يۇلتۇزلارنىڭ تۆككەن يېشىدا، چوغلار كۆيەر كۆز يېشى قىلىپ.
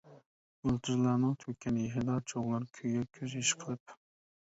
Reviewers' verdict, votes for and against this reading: rejected, 0, 2